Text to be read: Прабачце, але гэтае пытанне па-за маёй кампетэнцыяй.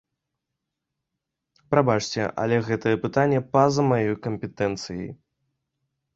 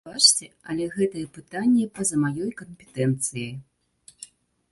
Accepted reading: first